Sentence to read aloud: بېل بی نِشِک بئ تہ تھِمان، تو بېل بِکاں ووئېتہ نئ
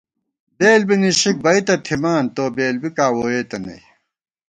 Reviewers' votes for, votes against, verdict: 2, 0, accepted